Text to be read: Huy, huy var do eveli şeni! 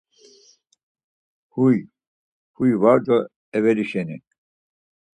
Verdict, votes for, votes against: accepted, 4, 0